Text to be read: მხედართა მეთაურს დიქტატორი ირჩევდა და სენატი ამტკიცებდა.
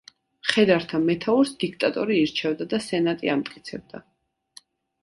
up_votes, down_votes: 2, 0